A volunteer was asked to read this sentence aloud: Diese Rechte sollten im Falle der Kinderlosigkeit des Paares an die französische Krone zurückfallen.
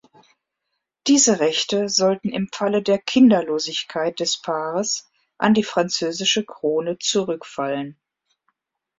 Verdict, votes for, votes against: accepted, 2, 0